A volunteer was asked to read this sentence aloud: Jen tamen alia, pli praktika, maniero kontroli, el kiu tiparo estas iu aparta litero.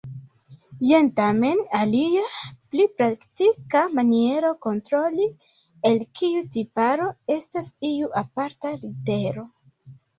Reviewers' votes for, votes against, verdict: 2, 1, accepted